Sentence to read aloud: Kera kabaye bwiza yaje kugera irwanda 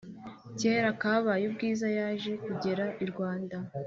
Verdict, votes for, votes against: accepted, 2, 0